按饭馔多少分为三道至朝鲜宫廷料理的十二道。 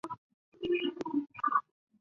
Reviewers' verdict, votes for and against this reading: rejected, 0, 2